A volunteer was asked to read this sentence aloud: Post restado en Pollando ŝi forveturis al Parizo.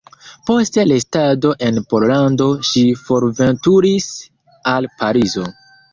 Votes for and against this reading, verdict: 3, 1, accepted